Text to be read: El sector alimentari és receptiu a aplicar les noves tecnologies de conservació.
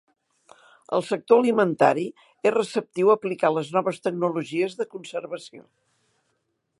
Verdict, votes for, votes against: accepted, 4, 0